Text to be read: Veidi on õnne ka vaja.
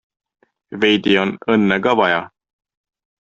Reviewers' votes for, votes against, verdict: 2, 0, accepted